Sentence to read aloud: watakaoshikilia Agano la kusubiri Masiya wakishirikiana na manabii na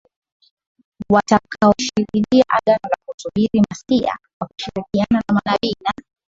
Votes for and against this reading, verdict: 0, 2, rejected